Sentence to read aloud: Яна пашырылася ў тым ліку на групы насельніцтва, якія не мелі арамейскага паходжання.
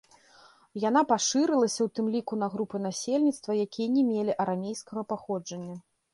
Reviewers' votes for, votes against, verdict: 2, 0, accepted